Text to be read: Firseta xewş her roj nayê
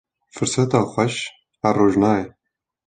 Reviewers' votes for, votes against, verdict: 2, 0, accepted